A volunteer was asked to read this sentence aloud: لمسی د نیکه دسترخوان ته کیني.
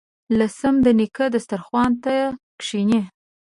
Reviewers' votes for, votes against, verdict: 2, 3, rejected